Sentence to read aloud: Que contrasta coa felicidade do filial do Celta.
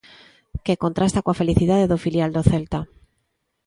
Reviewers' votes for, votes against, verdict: 2, 0, accepted